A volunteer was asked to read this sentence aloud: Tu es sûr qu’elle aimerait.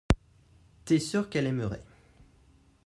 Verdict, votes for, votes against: rejected, 0, 2